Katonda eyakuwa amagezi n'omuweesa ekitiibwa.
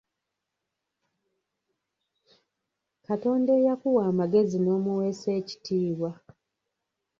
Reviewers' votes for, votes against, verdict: 1, 2, rejected